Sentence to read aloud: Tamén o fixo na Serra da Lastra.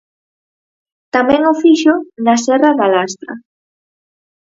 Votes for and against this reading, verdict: 6, 0, accepted